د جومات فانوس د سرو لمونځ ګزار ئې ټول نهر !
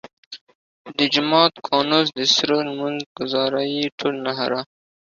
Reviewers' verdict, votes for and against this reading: accepted, 2, 1